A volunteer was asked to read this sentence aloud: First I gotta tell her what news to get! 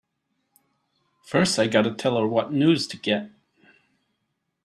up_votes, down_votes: 2, 0